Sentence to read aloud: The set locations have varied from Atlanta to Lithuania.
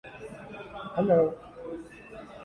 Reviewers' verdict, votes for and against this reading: rejected, 0, 2